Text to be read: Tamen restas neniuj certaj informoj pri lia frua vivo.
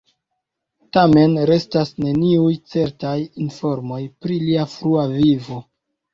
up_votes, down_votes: 1, 2